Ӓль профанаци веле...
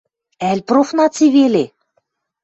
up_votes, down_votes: 0, 2